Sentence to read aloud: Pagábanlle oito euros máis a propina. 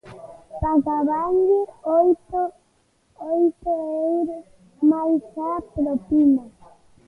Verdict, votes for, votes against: rejected, 0, 2